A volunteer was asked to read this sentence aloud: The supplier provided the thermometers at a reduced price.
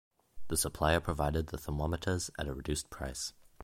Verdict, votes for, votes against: accepted, 2, 0